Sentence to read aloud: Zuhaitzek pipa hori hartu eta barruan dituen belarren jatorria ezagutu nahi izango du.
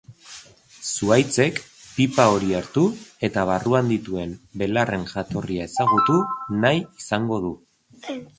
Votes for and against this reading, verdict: 1, 2, rejected